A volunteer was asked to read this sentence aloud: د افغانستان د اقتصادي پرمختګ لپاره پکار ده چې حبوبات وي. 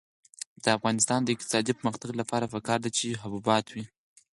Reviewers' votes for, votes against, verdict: 2, 4, rejected